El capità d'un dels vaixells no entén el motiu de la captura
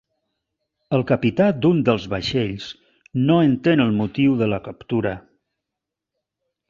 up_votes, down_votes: 4, 0